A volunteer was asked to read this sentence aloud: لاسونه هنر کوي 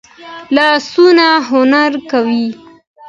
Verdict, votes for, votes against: accepted, 2, 0